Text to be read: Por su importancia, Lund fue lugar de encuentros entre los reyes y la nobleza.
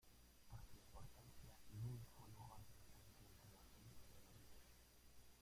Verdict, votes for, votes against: rejected, 0, 2